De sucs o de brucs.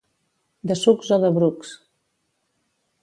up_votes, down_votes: 2, 0